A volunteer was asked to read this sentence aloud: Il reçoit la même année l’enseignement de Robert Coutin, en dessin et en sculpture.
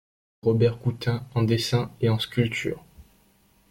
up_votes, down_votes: 0, 2